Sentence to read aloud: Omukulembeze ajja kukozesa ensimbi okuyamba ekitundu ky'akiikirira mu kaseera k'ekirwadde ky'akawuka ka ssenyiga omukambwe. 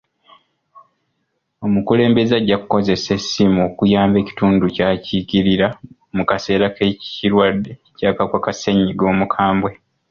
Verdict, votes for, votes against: rejected, 0, 2